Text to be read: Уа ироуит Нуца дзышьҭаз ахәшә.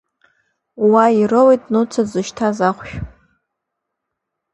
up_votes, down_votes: 2, 0